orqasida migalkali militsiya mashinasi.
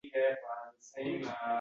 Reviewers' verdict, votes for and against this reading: rejected, 0, 2